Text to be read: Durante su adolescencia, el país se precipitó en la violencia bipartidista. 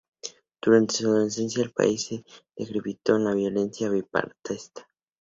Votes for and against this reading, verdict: 0, 2, rejected